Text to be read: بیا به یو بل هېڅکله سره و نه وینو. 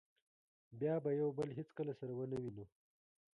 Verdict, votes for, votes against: accepted, 2, 1